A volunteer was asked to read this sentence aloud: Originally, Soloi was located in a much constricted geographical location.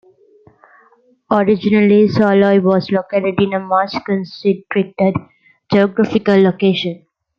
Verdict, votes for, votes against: rejected, 0, 2